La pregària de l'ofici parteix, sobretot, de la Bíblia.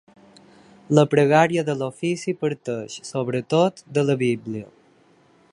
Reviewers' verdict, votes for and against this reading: accepted, 3, 0